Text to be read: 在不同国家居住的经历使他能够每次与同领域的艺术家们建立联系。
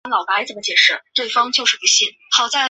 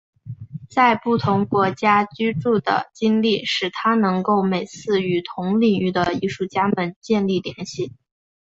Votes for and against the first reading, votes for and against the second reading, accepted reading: 0, 2, 3, 1, second